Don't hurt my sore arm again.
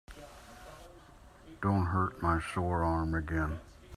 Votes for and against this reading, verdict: 2, 0, accepted